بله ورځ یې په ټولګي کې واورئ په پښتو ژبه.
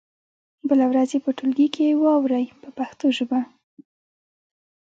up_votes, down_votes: 0, 2